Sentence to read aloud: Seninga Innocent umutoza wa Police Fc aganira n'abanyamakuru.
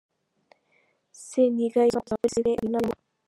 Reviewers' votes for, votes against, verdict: 0, 2, rejected